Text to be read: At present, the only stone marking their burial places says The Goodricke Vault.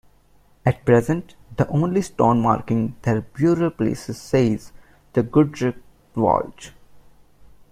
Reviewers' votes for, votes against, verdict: 1, 2, rejected